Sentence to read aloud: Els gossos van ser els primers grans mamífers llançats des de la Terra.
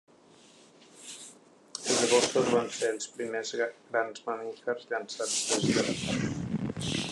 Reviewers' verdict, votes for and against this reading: rejected, 0, 2